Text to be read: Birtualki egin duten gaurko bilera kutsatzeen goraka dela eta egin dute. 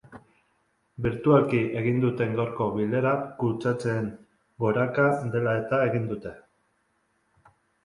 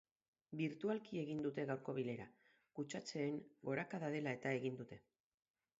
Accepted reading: first